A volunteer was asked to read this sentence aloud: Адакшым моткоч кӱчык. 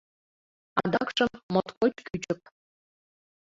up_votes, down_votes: 2, 1